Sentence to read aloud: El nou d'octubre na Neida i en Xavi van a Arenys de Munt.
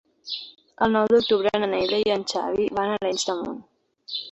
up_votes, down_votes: 2, 0